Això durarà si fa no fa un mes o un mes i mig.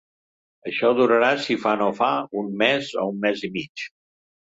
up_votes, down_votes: 2, 0